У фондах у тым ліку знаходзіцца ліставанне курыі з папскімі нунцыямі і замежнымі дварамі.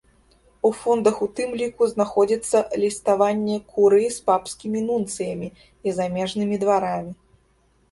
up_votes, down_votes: 2, 0